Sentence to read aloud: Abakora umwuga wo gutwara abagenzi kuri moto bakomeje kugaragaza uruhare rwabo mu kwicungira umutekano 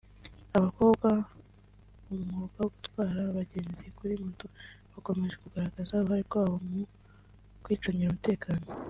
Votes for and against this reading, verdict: 0, 2, rejected